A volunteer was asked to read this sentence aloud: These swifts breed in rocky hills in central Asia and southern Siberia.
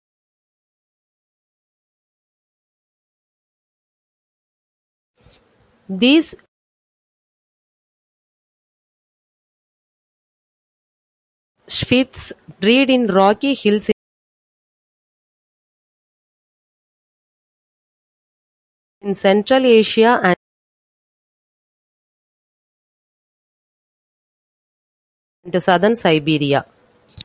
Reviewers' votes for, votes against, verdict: 0, 2, rejected